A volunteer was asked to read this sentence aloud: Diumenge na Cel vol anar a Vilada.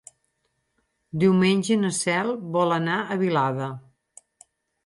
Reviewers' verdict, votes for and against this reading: accepted, 8, 0